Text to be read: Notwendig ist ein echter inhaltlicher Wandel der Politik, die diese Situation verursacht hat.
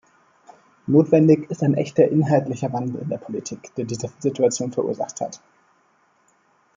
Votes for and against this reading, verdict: 1, 2, rejected